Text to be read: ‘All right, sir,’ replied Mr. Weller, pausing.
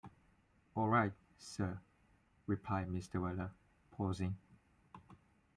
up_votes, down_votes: 2, 0